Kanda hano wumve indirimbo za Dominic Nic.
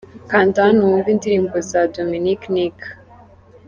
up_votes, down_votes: 3, 0